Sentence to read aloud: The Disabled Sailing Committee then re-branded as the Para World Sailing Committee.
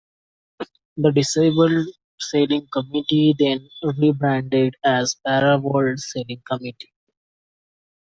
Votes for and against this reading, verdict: 2, 0, accepted